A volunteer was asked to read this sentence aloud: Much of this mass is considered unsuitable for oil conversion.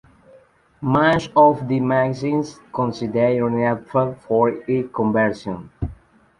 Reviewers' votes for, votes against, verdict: 0, 2, rejected